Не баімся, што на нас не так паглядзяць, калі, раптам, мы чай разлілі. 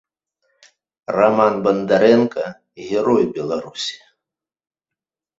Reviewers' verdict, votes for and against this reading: rejected, 0, 2